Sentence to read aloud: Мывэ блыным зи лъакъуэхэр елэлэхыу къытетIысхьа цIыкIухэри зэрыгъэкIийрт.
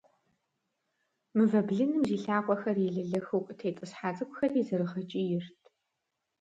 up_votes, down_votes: 2, 0